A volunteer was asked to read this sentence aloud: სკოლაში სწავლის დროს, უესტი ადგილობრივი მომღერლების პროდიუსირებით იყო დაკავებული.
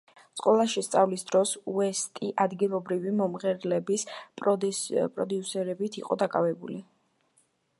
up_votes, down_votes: 1, 2